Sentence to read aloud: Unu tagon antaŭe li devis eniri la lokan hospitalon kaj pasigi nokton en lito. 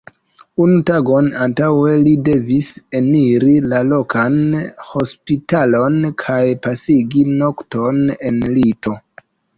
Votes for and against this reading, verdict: 2, 0, accepted